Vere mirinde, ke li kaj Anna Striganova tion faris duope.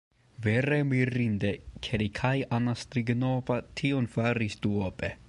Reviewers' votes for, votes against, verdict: 1, 2, rejected